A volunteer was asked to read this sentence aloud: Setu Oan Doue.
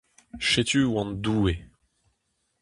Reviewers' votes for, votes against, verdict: 2, 2, rejected